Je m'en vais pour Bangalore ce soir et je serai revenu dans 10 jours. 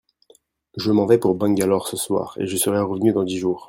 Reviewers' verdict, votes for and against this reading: rejected, 0, 2